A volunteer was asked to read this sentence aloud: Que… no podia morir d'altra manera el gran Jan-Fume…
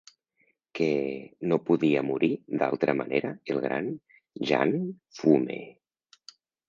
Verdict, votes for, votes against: rejected, 1, 2